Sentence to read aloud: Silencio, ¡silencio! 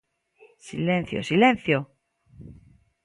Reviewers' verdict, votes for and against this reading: accepted, 2, 0